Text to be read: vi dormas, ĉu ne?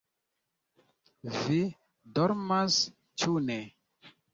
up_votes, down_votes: 2, 0